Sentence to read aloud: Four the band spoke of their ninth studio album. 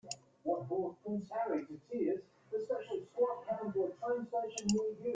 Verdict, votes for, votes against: rejected, 0, 2